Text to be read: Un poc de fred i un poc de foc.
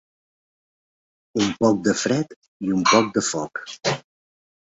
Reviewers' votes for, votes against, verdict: 4, 0, accepted